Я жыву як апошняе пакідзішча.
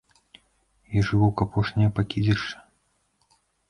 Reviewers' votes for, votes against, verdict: 1, 2, rejected